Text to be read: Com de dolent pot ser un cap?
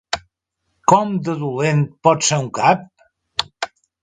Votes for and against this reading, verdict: 3, 0, accepted